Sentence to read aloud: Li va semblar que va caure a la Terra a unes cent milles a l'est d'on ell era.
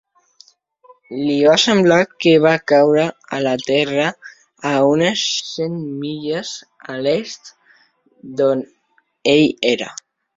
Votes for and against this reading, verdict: 3, 0, accepted